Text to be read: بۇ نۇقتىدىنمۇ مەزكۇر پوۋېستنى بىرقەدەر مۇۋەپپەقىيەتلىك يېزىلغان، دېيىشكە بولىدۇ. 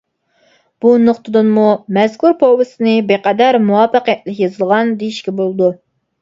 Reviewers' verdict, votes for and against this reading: accepted, 2, 0